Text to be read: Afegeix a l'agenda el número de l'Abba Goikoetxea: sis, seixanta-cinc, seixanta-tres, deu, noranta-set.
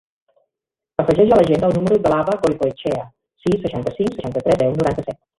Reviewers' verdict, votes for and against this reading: rejected, 1, 2